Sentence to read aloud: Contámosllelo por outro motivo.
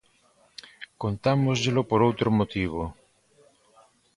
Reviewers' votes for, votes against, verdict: 2, 0, accepted